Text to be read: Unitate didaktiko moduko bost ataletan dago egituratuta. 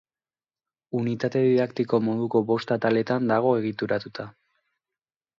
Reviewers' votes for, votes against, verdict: 2, 0, accepted